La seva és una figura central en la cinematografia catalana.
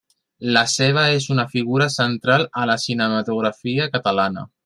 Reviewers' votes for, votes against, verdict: 1, 2, rejected